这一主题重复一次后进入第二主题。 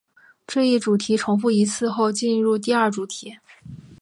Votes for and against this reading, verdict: 5, 0, accepted